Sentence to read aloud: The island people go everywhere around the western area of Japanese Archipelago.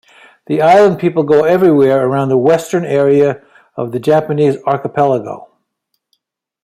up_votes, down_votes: 1, 2